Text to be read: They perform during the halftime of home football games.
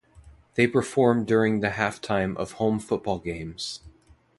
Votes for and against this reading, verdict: 2, 0, accepted